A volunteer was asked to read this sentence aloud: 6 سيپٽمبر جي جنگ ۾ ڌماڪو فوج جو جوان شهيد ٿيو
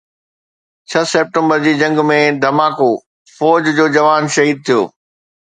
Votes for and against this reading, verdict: 0, 2, rejected